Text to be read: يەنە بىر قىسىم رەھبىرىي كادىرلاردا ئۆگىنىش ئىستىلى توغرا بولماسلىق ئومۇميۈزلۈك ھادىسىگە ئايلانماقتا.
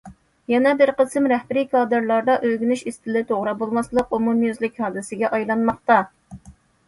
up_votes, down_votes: 2, 0